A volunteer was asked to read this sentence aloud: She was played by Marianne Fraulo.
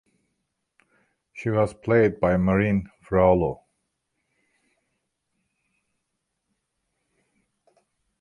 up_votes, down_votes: 2, 1